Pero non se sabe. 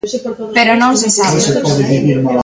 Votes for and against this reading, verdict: 0, 3, rejected